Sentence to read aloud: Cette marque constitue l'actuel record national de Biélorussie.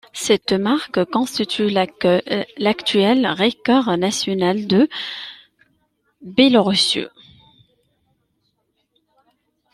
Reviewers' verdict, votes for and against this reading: rejected, 0, 2